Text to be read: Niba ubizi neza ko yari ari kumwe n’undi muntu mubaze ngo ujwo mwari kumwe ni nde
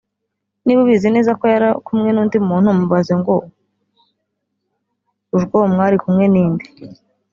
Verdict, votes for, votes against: rejected, 1, 2